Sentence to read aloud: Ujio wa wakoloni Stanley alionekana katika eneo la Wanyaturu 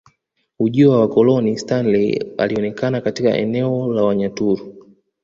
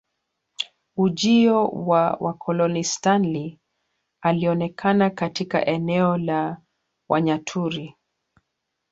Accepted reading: first